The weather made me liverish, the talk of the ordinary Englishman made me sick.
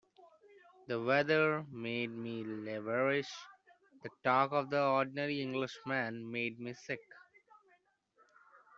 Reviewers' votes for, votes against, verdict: 2, 0, accepted